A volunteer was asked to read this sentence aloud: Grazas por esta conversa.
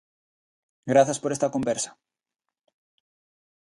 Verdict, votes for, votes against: accepted, 2, 0